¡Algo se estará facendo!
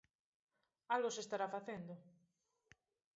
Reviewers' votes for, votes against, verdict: 2, 0, accepted